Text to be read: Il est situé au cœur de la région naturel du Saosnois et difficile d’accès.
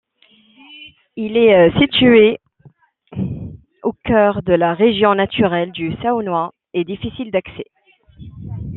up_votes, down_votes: 1, 2